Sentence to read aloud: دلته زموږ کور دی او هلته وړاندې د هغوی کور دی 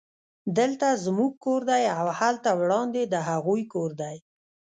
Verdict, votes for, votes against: rejected, 0, 2